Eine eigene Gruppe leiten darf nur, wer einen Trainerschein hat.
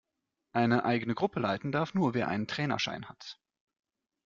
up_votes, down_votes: 2, 0